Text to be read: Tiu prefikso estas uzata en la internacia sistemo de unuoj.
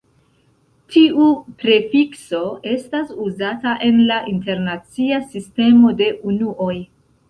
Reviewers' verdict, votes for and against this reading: rejected, 0, 2